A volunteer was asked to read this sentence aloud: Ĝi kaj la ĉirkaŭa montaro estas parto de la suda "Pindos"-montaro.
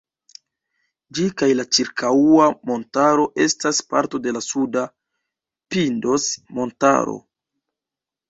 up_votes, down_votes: 1, 2